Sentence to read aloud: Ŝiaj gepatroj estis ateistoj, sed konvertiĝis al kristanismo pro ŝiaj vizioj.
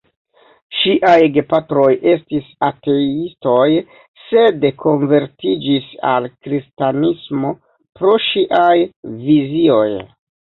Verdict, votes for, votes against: rejected, 0, 2